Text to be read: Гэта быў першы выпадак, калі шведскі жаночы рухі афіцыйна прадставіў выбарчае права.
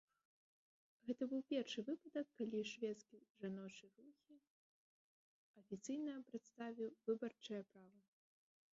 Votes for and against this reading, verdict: 1, 2, rejected